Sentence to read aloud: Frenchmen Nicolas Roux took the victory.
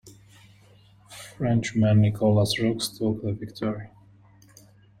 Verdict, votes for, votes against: rejected, 0, 2